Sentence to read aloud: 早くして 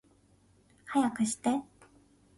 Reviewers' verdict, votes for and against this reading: rejected, 1, 2